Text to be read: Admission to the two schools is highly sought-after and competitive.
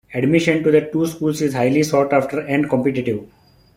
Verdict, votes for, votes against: accepted, 2, 0